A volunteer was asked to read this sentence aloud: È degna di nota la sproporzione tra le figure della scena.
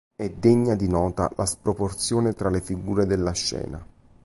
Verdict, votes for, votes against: accepted, 2, 0